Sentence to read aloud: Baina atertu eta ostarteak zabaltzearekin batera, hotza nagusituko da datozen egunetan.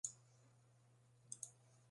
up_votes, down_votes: 0, 2